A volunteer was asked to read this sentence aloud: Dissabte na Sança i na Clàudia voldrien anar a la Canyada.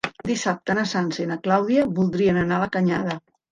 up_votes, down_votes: 2, 0